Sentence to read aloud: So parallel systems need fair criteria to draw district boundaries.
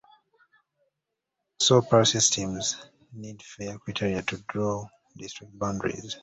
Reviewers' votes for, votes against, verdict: 1, 2, rejected